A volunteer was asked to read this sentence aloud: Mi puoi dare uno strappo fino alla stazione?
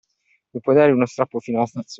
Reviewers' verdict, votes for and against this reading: rejected, 0, 2